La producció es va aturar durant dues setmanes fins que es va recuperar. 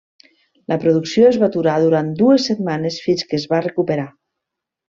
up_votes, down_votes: 3, 0